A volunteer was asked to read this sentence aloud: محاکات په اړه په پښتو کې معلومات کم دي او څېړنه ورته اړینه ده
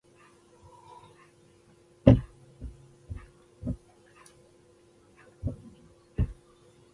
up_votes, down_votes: 0, 2